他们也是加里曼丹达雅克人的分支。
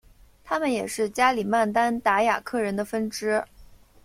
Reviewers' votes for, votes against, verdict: 2, 0, accepted